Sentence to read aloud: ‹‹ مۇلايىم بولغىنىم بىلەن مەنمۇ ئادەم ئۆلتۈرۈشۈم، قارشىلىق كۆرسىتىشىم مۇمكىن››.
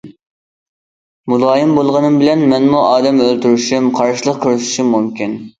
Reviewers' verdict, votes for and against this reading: accepted, 2, 0